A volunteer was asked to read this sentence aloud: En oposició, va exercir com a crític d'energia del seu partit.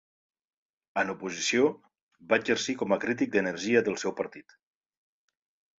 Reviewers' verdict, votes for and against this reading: accepted, 2, 0